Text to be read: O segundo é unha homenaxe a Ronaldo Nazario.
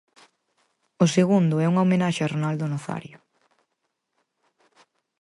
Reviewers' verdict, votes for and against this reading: accepted, 4, 0